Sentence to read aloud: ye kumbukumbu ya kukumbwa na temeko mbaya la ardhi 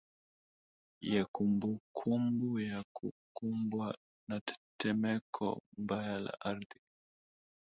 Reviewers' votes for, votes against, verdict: 1, 2, rejected